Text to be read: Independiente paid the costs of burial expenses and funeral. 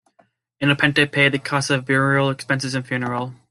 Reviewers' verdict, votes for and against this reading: accepted, 2, 0